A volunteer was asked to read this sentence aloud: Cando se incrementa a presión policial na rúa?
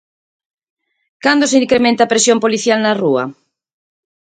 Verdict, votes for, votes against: accepted, 4, 0